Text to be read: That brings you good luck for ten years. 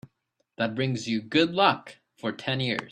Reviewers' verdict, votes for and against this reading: accepted, 2, 0